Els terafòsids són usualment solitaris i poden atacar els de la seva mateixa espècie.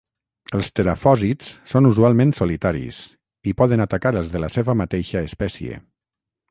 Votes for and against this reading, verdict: 6, 0, accepted